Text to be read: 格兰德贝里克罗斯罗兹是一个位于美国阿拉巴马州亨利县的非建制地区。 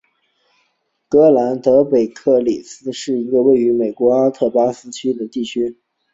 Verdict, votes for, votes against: accepted, 3, 0